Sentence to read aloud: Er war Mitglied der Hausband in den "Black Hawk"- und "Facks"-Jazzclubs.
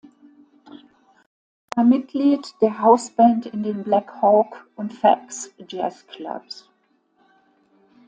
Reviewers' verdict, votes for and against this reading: rejected, 1, 2